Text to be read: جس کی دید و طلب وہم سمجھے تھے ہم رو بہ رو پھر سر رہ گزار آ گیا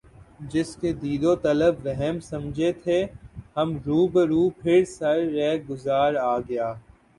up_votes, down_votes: 10, 3